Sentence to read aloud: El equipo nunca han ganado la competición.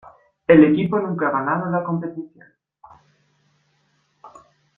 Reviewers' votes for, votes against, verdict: 2, 1, accepted